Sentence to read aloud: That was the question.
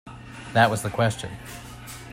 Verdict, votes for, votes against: accepted, 2, 0